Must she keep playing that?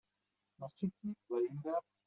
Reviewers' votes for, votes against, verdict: 1, 2, rejected